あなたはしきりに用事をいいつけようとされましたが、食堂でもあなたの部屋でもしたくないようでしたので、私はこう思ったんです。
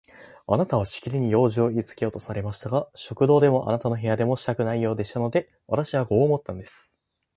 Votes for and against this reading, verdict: 4, 0, accepted